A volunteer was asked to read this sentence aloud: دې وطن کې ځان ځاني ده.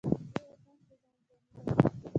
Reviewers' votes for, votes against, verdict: 0, 2, rejected